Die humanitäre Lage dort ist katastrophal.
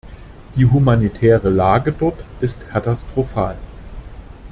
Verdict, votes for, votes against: accepted, 2, 0